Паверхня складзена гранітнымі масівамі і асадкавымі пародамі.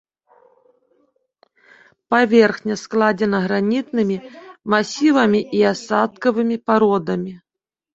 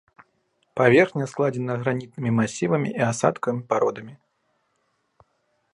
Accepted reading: first